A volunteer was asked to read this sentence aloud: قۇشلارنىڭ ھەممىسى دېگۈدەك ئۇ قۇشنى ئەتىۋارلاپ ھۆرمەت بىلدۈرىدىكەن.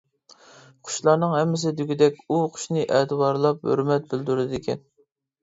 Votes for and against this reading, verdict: 2, 0, accepted